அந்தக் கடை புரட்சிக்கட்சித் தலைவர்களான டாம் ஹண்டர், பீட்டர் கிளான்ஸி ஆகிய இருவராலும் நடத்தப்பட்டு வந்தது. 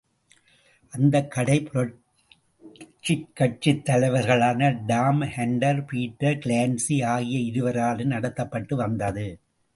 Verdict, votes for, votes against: rejected, 1, 2